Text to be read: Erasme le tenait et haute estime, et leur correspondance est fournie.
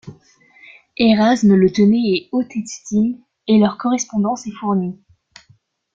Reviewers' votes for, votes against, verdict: 1, 2, rejected